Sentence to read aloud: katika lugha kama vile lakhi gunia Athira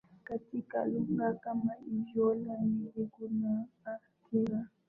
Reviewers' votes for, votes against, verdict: 4, 7, rejected